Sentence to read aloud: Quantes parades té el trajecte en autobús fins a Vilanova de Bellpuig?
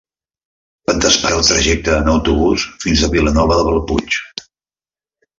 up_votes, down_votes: 0, 2